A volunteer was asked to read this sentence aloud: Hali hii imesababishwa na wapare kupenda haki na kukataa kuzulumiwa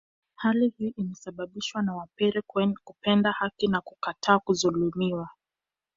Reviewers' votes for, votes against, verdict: 1, 2, rejected